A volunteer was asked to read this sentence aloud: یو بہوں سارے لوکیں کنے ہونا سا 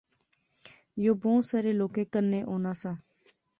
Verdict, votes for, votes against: accepted, 2, 0